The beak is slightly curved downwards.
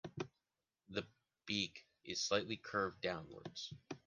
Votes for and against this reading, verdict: 2, 0, accepted